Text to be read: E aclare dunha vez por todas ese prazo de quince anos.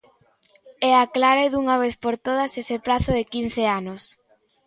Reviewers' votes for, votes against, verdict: 2, 0, accepted